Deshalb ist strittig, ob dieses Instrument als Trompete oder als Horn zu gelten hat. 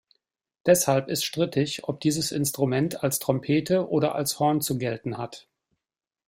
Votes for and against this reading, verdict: 2, 0, accepted